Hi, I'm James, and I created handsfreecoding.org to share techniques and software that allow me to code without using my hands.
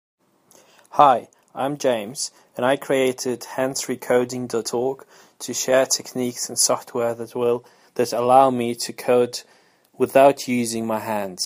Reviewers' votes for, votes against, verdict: 1, 2, rejected